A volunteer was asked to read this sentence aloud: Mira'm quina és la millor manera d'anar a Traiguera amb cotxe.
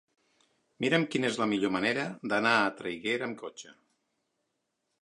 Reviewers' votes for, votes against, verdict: 3, 0, accepted